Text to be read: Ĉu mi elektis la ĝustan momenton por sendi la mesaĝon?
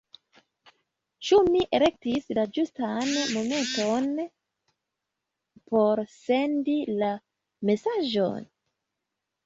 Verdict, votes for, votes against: rejected, 0, 2